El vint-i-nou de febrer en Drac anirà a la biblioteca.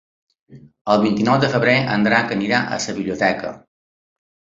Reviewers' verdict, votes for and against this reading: rejected, 0, 2